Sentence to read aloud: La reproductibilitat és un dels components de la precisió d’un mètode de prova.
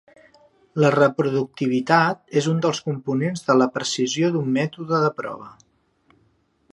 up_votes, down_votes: 0, 2